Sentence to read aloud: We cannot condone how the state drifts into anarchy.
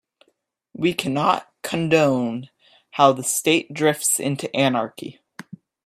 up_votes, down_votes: 2, 0